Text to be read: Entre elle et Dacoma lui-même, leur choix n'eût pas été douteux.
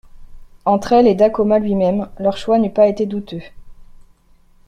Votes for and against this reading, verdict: 2, 0, accepted